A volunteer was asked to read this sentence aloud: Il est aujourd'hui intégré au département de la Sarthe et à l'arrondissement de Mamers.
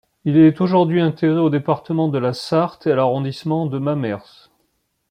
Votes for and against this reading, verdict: 2, 1, accepted